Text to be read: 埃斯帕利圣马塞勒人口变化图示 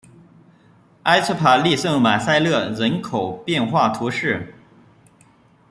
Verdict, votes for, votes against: rejected, 1, 2